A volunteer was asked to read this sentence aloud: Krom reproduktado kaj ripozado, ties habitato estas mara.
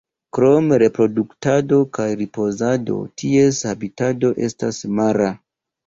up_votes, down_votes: 2, 1